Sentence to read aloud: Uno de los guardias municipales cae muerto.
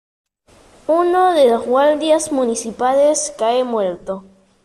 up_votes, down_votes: 2, 0